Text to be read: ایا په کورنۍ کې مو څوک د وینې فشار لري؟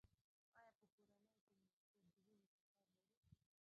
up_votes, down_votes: 1, 2